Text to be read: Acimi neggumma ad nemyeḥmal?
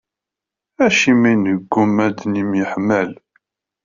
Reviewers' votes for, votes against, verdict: 0, 2, rejected